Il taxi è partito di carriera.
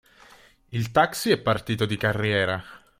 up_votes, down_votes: 3, 0